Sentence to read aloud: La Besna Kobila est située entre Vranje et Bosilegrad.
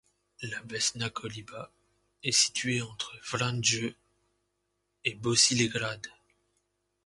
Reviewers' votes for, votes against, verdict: 0, 2, rejected